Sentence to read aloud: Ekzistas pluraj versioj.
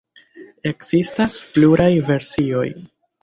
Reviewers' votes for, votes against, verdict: 2, 1, accepted